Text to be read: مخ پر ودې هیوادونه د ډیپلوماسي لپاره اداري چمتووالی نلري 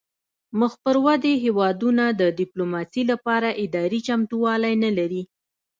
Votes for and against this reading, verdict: 2, 0, accepted